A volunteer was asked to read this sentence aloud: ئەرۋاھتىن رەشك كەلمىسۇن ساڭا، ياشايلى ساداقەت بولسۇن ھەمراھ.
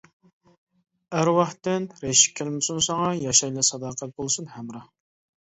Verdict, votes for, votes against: accepted, 2, 0